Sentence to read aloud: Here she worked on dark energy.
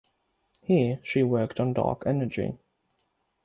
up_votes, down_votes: 6, 0